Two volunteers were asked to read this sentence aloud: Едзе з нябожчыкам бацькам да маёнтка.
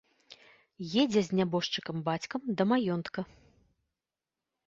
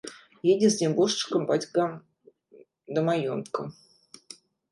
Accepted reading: first